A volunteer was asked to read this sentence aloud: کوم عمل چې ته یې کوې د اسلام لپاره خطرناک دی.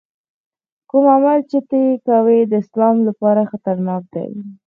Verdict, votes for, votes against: accepted, 4, 0